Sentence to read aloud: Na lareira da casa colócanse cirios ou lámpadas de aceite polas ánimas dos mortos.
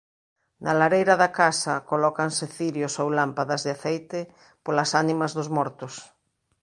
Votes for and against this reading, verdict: 2, 0, accepted